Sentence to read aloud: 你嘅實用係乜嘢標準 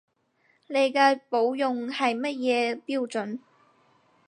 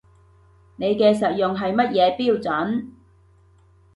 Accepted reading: second